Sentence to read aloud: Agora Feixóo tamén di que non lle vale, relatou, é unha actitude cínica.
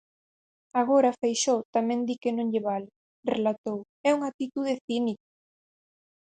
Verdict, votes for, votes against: rejected, 2, 4